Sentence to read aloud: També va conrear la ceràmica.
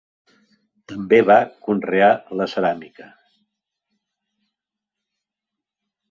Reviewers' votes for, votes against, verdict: 3, 0, accepted